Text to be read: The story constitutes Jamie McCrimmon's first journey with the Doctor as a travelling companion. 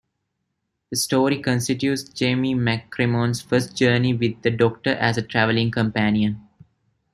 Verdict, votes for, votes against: rejected, 1, 2